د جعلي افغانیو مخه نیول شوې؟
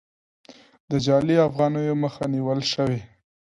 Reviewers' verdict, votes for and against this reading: accepted, 2, 0